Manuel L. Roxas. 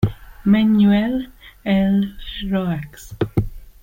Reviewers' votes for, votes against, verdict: 0, 2, rejected